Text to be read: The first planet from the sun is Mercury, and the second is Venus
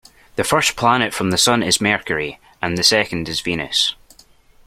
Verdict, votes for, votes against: accepted, 2, 0